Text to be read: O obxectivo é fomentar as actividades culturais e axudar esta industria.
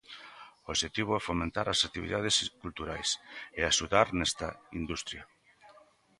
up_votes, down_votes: 0, 2